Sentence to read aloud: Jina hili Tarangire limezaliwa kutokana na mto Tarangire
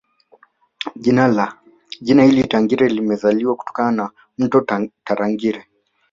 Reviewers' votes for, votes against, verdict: 1, 2, rejected